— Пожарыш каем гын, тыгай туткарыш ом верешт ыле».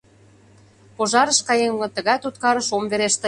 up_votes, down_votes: 0, 2